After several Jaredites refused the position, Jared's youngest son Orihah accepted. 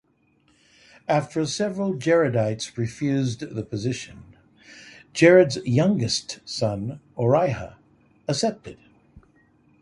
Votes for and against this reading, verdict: 3, 0, accepted